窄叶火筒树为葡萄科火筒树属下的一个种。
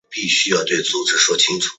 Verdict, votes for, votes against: rejected, 0, 2